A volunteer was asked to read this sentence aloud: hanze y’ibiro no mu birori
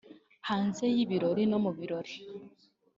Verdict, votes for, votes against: rejected, 1, 2